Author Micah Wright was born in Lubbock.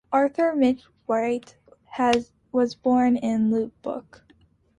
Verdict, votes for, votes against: rejected, 0, 2